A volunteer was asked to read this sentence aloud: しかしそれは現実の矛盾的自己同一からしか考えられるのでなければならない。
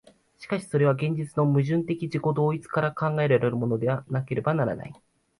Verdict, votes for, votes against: rejected, 1, 2